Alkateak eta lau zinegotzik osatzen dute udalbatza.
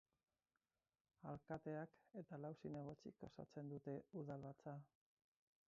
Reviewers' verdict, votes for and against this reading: rejected, 0, 4